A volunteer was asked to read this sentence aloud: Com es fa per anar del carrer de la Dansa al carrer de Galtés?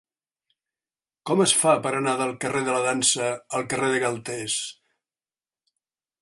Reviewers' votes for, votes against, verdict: 3, 0, accepted